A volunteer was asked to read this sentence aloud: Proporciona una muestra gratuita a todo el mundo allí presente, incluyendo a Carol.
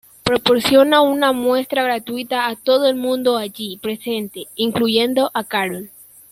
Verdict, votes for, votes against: rejected, 1, 2